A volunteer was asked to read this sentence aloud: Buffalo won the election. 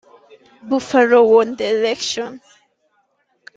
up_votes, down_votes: 0, 2